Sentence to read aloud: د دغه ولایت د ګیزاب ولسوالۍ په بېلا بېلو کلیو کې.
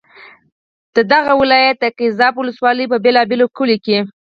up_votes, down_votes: 2, 4